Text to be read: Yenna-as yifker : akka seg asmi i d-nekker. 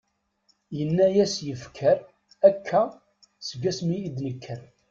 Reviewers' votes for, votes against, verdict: 2, 0, accepted